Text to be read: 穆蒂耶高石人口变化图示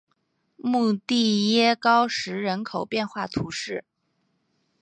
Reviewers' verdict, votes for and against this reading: accepted, 4, 0